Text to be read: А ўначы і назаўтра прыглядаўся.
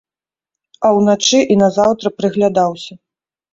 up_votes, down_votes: 2, 0